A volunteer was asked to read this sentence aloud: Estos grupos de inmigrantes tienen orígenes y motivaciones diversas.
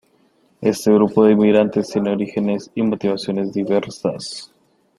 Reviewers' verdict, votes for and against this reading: rejected, 0, 2